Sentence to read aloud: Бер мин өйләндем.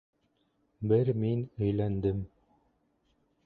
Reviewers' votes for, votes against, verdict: 0, 2, rejected